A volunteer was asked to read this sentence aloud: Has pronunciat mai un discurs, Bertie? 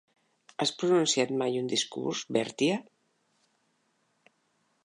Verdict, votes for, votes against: rejected, 1, 2